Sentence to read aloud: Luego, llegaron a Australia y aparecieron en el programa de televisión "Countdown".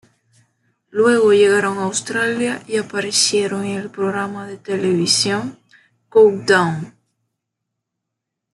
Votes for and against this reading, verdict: 1, 2, rejected